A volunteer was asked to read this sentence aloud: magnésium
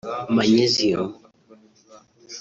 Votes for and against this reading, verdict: 0, 2, rejected